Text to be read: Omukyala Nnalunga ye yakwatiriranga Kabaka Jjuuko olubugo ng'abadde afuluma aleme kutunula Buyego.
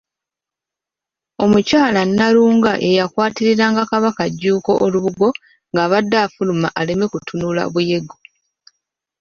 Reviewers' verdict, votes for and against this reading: accepted, 2, 0